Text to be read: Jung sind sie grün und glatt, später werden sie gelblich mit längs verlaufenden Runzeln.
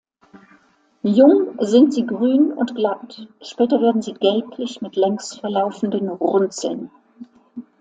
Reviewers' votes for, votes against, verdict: 2, 0, accepted